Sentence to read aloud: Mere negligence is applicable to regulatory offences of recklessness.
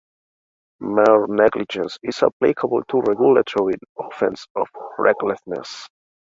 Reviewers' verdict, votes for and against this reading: accepted, 2, 1